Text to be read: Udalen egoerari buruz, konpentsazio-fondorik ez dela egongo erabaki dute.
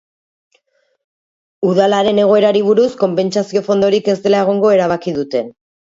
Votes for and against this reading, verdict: 2, 2, rejected